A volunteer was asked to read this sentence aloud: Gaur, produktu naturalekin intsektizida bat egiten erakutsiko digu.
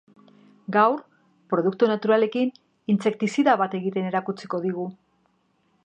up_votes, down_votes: 2, 0